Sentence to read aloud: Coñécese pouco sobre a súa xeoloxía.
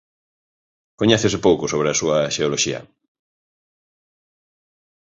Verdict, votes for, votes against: accepted, 4, 0